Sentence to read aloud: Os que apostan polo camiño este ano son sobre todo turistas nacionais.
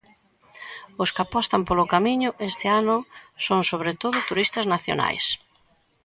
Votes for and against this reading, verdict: 2, 0, accepted